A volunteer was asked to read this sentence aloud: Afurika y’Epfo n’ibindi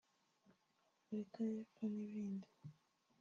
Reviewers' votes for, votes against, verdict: 1, 2, rejected